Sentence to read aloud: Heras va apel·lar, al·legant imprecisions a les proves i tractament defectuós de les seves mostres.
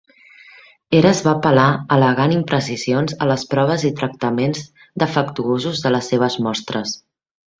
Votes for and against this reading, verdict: 1, 2, rejected